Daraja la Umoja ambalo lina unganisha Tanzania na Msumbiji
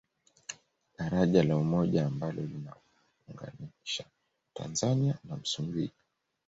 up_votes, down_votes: 0, 2